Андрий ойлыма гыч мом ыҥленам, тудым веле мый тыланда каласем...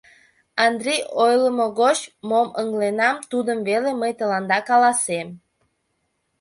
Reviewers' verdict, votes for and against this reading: rejected, 1, 2